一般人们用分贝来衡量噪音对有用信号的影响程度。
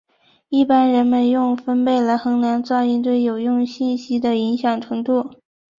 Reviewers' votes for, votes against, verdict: 1, 3, rejected